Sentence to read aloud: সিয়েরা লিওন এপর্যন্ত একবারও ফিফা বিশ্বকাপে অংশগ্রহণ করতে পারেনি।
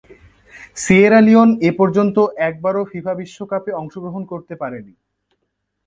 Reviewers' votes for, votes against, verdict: 2, 0, accepted